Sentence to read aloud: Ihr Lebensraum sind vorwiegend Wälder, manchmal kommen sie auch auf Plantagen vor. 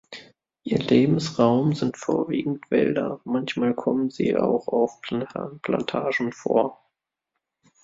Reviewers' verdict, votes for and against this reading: rejected, 0, 2